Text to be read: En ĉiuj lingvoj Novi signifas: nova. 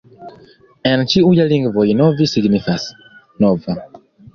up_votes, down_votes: 2, 0